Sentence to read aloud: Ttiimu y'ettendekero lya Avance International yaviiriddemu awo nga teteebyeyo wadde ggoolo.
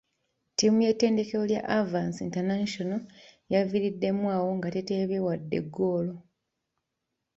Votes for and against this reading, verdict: 2, 1, accepted